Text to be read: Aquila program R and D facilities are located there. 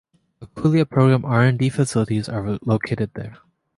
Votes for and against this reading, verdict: 2, 1, accepted